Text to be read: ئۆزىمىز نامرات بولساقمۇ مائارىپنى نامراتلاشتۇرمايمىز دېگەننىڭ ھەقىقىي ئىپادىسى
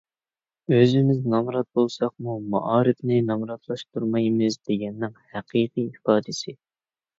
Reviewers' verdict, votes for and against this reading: accepted, 2, 0